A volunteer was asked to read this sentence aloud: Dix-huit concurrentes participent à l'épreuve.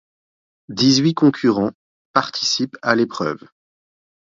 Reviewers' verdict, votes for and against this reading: rejected, 1, 2